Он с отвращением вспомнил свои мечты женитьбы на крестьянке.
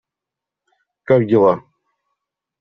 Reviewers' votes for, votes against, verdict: 0, 2, rejected